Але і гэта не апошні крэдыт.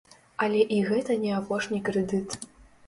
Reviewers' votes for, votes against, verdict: 2, 0, accepted